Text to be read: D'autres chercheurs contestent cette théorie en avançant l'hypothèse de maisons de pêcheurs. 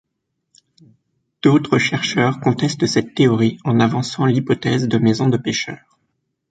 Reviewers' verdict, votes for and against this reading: accepted, 2, 0